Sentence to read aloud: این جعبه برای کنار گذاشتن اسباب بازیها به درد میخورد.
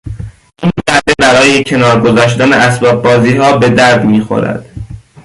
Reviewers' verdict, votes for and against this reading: rejected, 0, 2